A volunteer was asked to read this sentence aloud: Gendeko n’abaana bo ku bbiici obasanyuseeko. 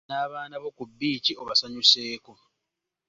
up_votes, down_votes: 0, 3